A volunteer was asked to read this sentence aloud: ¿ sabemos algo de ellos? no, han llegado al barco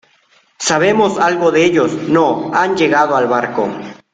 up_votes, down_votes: 2, 0